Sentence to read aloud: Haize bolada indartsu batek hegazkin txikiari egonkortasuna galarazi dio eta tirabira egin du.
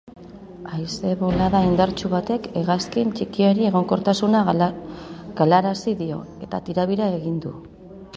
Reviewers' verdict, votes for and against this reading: rejected, 0, 2